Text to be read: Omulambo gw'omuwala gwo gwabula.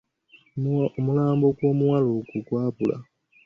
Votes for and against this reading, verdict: 2, 1, accepted